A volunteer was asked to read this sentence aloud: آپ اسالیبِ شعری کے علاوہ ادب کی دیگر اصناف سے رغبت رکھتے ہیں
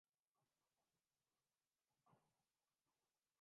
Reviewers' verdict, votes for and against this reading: rejected, 0, 2